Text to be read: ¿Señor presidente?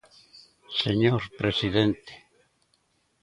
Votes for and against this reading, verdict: 2, 0, accepted